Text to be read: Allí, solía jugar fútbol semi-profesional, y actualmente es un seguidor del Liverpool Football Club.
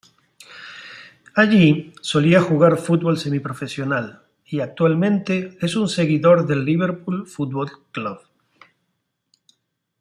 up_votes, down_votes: 2, 0